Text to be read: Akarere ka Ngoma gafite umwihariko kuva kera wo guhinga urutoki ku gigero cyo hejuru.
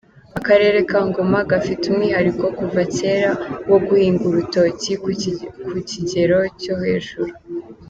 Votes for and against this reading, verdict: 0, 3, rejected